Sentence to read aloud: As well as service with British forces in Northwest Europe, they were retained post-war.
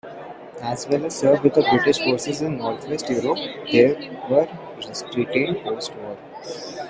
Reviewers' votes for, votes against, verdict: 0, 2, rejected